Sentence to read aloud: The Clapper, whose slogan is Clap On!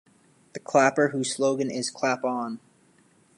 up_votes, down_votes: 0, 2